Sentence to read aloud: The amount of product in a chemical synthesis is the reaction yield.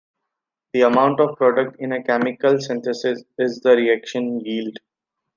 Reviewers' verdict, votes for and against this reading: accepted, 3, 0